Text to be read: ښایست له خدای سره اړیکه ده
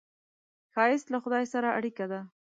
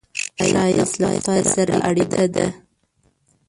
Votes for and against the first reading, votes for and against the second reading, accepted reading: 2, 0, 0, 2, first